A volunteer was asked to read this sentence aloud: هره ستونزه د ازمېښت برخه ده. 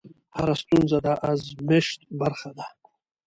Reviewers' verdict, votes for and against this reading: accepted, 2, 0